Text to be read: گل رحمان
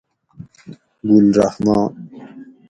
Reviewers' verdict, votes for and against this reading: accepted, 2, 0